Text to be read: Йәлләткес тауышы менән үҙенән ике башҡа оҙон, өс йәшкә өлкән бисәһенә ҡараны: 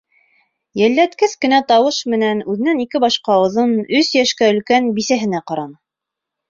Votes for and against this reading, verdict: 1, 2, rejected